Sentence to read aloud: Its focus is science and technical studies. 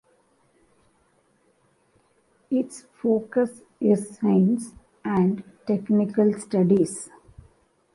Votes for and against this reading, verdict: 2, 0, accepted